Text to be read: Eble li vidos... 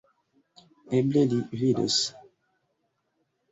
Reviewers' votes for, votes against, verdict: 1, 2, rejected